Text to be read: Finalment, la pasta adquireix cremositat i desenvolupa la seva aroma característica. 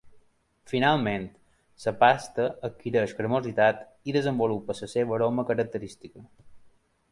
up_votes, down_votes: 0, 2